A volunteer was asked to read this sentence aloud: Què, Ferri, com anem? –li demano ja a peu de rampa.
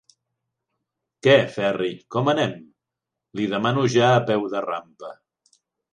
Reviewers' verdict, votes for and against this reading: accepted, 3, 0